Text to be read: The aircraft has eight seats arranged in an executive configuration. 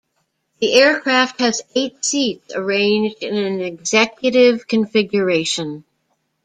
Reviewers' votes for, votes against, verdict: 2, 1, accepted